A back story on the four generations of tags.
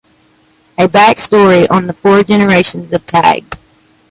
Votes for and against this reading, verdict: 2, 0, accepted